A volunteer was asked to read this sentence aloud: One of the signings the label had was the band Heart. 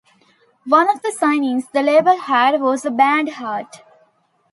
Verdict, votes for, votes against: accepted, 2, 0